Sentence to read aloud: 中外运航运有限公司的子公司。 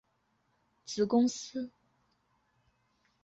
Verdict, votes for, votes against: rejected, 0, 3